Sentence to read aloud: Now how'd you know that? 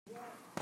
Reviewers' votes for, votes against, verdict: 0, 2, rejected